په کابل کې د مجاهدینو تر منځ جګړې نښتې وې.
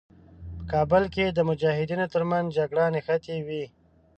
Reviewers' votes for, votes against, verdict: 1, 2, rejected